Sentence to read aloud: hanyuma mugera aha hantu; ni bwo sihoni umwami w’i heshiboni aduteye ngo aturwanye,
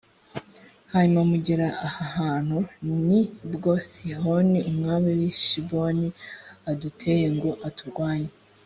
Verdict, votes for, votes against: accepted, 3, 0